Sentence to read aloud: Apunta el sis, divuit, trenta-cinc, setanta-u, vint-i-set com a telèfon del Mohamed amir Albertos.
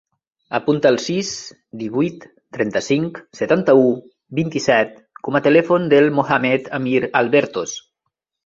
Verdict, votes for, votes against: accepted, 2, 0